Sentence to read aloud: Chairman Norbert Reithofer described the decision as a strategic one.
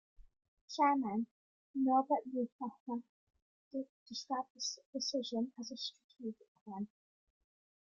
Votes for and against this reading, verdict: 1, 2, rejected